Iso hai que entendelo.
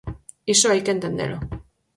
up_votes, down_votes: 4, 0